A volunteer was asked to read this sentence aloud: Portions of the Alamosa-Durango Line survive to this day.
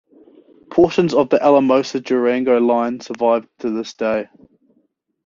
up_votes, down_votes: 2, 0